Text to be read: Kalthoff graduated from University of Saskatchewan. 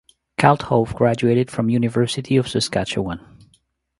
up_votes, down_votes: 2, 0